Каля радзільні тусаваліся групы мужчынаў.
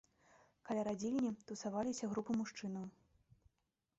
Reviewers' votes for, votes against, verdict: 2, 0, accepted